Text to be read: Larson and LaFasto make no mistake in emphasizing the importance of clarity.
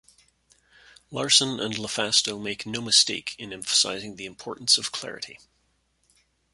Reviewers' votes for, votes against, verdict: 2, 0, accepted